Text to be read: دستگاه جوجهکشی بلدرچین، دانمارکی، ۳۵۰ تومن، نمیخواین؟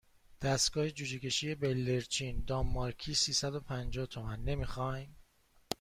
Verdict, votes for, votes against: rejected, 0, 2